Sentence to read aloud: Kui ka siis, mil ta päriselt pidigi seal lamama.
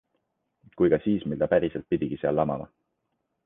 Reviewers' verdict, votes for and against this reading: accepted, 2, 0